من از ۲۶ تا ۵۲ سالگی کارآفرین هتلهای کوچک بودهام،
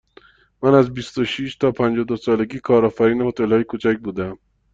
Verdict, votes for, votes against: rejected, 0, 2